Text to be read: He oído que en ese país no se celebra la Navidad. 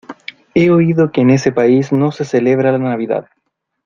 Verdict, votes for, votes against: accepted, 2, 0